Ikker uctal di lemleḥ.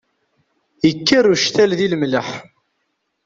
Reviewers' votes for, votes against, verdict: 2, 0, accepted